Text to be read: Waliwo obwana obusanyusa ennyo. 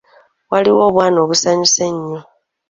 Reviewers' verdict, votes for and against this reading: accepted, 2, 1